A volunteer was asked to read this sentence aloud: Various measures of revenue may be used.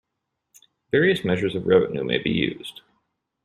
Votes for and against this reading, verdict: 2, 0, accepted